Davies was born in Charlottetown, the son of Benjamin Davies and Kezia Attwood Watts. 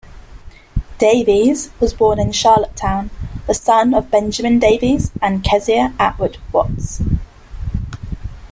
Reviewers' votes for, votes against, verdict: 2, 0, accepted